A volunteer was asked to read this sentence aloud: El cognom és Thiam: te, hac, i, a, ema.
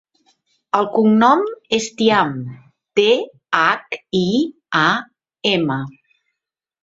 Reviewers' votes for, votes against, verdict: 2, 0, accepted